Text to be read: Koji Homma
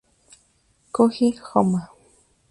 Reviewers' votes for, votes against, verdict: 2, 0, accepted